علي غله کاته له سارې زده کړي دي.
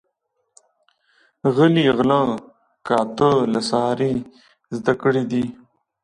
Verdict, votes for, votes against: rejected, 0, 2